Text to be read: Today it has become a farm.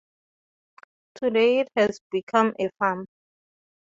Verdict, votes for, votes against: accepted, 2, 0